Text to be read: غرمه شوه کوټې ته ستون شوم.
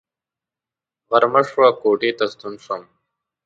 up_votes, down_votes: 2, 0